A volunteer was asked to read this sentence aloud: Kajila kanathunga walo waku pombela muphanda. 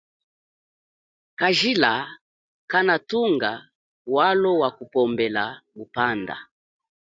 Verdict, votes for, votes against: accepted, 2, 0